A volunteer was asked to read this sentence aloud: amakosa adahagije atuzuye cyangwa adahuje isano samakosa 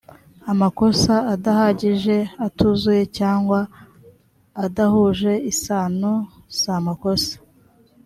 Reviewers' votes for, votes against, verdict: 2, 0, accepted